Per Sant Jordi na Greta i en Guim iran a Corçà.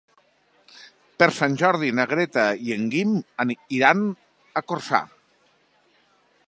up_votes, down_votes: 0, 2